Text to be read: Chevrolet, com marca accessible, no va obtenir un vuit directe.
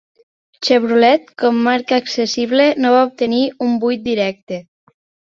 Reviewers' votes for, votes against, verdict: 2, 0, accepted